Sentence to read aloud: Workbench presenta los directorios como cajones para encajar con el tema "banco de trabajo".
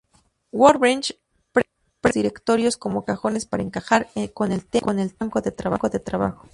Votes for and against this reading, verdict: 0, 2, rejected